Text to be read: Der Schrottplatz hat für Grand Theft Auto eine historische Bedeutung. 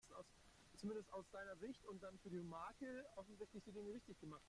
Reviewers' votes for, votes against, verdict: 0, 2, rejected